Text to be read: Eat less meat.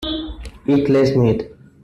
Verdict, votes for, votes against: rejected, 1, 2